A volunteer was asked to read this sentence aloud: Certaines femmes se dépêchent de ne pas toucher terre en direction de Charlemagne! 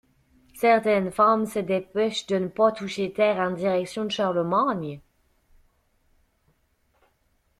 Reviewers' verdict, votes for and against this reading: rejected, 1, 2